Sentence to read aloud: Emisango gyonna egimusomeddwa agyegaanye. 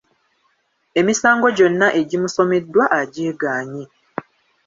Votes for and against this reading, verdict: 2, 1, accepted